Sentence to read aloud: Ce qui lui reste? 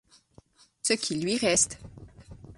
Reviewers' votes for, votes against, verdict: 6, 0, accepted